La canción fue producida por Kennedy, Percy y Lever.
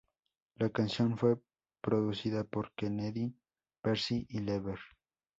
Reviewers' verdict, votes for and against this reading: accepted, 2, 0